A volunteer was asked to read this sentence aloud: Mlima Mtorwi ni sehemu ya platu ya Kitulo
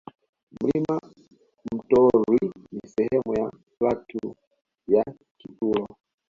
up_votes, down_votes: 1, 2